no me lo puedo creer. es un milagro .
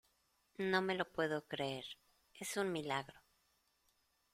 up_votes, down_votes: 2, 0